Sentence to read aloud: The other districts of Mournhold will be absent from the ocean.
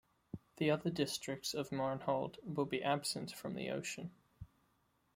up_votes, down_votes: 1, 2